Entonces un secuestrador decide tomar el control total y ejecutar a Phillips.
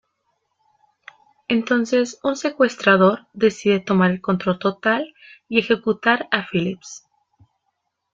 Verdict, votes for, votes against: accepted, 2, 1